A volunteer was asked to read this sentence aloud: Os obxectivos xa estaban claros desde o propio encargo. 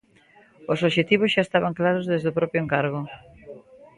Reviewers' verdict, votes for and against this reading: accepted, 2, 1